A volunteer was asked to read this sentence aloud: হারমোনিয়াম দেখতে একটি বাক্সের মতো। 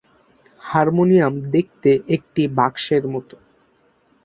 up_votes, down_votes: 2, 0